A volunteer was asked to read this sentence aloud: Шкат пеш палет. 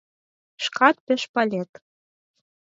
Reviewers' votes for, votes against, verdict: 2, 4, rejected